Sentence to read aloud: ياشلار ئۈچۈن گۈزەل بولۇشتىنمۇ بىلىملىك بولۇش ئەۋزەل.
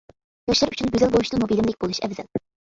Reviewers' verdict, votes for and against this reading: rejected, 0, 2